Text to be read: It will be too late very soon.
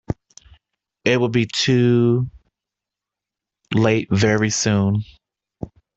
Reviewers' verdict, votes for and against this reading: accepted, 2, 0